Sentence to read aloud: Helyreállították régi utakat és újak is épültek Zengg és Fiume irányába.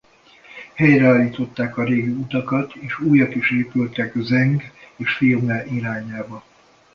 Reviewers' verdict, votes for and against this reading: rejected, 0, 2